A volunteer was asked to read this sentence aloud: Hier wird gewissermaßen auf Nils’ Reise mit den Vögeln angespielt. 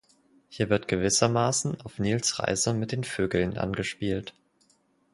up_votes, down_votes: 4, 0